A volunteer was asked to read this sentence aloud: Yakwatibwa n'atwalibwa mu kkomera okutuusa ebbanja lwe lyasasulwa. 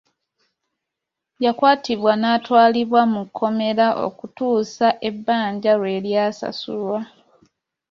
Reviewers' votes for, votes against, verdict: 2, 0, accepted